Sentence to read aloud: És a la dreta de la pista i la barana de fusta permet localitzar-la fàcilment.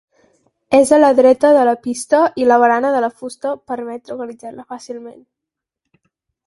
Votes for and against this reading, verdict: 0, 4, rejected